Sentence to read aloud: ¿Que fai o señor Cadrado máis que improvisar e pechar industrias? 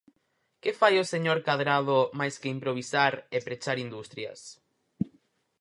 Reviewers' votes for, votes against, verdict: 4, 0, accepted